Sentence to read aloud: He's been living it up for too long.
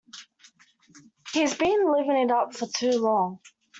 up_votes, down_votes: 2, 0